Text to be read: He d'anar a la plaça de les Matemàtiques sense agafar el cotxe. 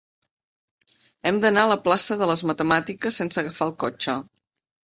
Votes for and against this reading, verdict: 0, 2, rejected